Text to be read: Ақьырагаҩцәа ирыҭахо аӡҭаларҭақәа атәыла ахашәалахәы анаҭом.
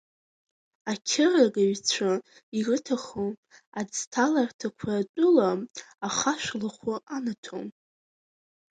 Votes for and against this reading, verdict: 2, 0, accepted